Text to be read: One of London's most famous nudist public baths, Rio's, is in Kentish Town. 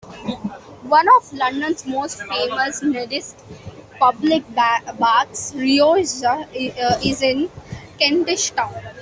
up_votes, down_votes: 0, 2